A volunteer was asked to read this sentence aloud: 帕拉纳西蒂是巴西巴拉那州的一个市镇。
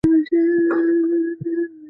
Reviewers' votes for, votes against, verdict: 0, 2, rejected